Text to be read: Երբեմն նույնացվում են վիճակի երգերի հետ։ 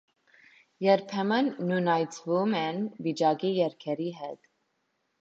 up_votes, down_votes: 2, 0